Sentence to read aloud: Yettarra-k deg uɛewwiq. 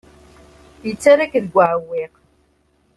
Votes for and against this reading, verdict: 2, 0, accepted